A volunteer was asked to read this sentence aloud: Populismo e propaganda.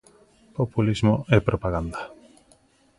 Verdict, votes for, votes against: accepted, 2, 0